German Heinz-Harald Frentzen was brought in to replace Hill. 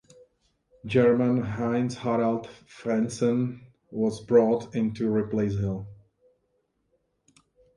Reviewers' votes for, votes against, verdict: 1, 2, rejected